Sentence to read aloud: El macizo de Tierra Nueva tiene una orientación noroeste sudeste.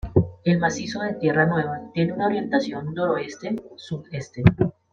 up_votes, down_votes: 2, 0